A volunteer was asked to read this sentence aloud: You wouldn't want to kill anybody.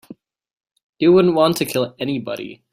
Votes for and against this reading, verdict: 4, 0, accepted